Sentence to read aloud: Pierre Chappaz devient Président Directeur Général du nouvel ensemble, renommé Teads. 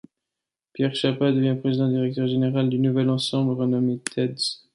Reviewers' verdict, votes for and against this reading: accepted, 3, 2